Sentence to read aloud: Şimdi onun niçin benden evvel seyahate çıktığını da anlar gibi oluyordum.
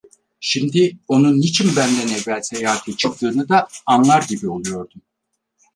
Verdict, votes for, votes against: rejected, 2, 4